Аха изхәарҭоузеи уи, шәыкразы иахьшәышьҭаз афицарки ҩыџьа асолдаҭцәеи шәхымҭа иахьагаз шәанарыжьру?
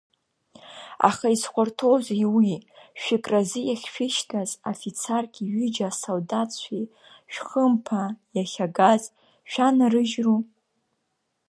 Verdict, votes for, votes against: rejected, 0, 2